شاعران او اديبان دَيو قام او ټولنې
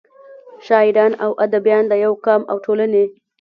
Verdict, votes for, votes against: rejected, 1, 2